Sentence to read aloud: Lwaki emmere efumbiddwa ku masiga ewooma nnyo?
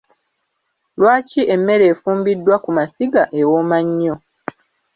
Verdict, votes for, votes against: accepted, 2, 0